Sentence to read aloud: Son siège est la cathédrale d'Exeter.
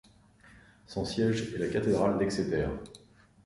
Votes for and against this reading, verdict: 2, 0, accepted